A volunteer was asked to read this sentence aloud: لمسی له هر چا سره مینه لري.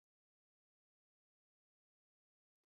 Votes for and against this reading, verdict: 0, 2, rejected